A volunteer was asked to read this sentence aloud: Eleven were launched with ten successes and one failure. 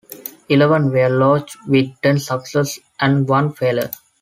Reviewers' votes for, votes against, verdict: 1, 2, rejected